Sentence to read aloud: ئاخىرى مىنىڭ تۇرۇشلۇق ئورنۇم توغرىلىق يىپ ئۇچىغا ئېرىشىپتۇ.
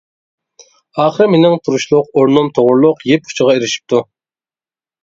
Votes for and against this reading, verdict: 2, 0, accepted